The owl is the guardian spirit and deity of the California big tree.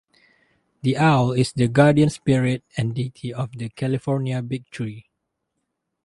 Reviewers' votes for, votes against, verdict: 2, 0, accepted